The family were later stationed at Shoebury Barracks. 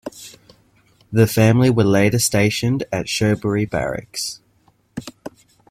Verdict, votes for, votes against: accepted, 2, 0